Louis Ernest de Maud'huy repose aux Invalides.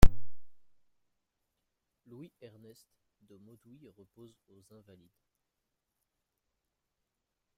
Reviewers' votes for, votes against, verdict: 2, 1, accepted